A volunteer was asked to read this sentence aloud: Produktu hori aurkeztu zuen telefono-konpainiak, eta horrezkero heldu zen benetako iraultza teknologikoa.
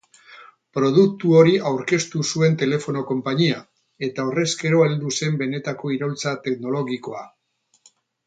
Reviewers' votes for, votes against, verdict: 2, 4, rejected